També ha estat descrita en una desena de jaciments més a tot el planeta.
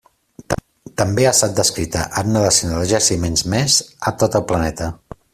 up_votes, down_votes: 2, 1